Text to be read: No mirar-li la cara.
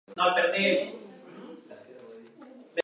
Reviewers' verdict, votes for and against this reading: rejected, 0, 2